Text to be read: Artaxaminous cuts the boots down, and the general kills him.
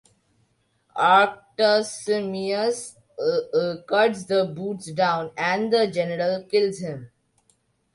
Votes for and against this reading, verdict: 0, 2, rejected